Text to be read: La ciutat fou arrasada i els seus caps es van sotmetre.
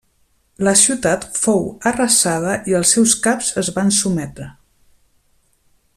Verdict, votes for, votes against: rejected, 1, 2